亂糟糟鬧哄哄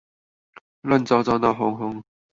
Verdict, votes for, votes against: accepted, 4, 0